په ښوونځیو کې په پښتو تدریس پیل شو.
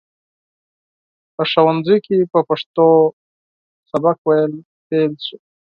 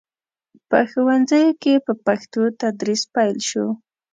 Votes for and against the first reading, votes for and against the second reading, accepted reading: 0, 4, 2, 0, second